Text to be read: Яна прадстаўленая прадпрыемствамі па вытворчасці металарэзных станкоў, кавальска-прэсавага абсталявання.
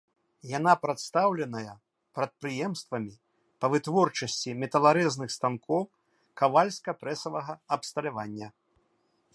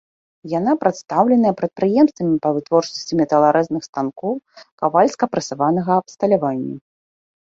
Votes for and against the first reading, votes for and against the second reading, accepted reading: 2, 0, 1, 2, first